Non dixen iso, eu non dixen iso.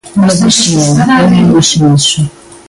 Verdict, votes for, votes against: rejected, 0, 2